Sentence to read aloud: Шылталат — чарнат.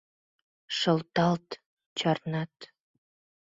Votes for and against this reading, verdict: 2, 4, rejected